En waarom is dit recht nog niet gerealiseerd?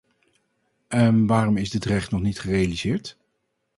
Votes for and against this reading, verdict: 2, 2, rejected